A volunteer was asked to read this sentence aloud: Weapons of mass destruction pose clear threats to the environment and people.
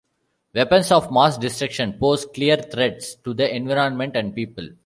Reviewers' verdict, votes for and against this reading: accepted, 2, 0